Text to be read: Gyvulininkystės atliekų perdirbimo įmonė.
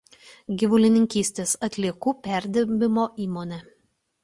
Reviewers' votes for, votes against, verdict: 2, 0, accepted